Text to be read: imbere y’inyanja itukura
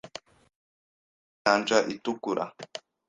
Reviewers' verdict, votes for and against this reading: rejected, 1, 2